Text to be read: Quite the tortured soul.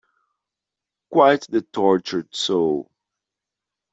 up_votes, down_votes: 2, 0